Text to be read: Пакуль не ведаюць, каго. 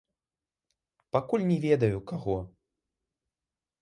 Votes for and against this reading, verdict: 0, 2, rejected